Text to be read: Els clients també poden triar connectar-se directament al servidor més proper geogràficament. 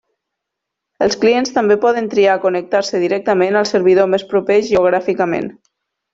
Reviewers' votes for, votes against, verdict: 2, 0, accepted